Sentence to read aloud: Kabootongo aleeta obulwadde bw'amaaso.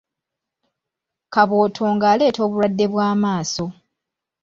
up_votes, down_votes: 2, 0